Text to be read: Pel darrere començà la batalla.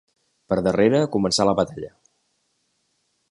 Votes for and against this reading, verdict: 1, 2, rejected